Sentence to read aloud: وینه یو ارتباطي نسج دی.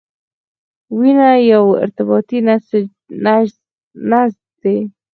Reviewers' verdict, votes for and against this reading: accepted, 4, 0